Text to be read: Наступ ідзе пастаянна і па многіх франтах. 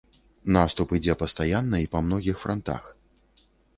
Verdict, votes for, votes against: accepted, 2, 0